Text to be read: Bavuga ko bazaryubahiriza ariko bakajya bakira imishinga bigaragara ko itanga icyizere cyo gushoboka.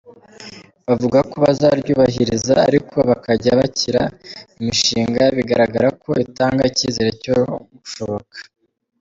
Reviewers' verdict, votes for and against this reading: accepted, 3, 1